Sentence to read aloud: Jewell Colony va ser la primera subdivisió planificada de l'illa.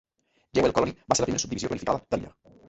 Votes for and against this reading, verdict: 0, 2, rejected